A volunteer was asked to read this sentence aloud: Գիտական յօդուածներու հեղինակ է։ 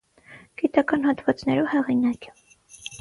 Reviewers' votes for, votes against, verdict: 0, 6, rejected